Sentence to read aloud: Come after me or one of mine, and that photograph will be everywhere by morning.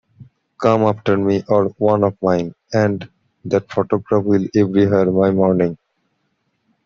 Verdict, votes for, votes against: rejected, 0, 2